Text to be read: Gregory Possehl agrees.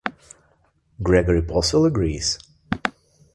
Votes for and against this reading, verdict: 3, 0, accepted